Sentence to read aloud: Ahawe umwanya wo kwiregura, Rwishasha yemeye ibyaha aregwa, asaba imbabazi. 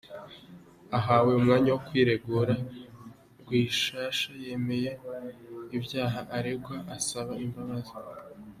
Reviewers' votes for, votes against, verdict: 2, 1, accepted